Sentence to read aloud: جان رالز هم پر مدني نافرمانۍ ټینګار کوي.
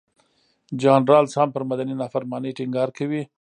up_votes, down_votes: 0, 2